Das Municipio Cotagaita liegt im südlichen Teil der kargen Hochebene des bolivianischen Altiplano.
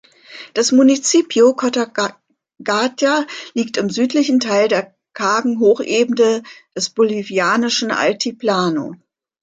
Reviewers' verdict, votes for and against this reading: rejected, 0, 2